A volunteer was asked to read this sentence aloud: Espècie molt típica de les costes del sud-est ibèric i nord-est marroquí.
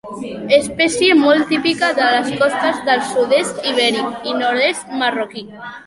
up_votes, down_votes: 2, 0